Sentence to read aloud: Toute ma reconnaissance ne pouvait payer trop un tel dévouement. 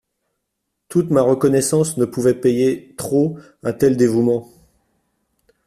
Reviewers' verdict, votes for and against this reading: accepted, 2, 0